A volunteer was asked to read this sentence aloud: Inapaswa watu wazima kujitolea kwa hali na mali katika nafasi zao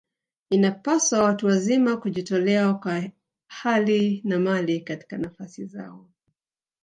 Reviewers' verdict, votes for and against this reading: accepted, 2, 1